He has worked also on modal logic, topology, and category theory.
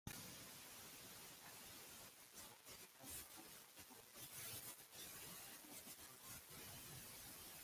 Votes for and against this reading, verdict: 0, 3, rejected